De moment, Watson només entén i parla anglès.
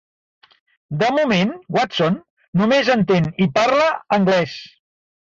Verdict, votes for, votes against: rejected, 0, 2